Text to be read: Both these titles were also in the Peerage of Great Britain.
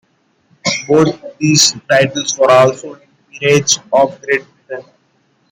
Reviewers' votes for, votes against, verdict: 1, 2, rejected